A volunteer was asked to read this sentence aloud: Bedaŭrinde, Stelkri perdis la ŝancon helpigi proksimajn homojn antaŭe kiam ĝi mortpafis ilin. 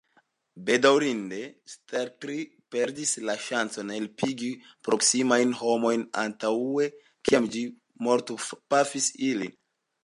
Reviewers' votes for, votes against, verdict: 3, 1, accepted